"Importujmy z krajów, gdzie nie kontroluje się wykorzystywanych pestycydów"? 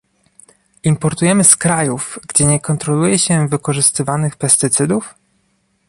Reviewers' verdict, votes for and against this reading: rejected, 1, 2